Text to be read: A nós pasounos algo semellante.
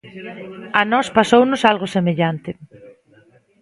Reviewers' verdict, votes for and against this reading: rejected, 0, 2